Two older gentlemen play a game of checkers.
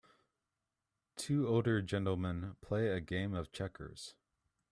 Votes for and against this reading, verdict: 2, 0, accepted